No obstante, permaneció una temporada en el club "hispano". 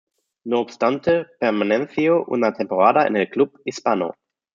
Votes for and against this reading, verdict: 0, 2, rejected